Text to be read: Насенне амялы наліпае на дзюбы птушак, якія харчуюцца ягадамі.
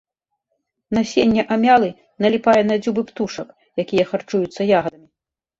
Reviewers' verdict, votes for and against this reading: rejected, 1, 2